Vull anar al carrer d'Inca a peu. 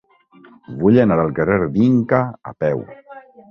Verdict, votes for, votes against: accepted, 2, 1